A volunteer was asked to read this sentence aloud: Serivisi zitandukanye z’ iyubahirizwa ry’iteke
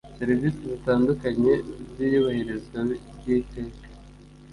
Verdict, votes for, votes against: accepted, 2, 0